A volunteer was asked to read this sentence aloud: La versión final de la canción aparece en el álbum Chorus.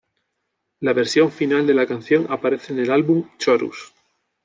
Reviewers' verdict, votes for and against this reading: accepted, 2, 0